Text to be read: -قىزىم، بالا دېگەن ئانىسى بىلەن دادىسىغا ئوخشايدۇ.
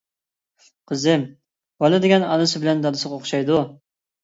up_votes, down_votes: 2, 0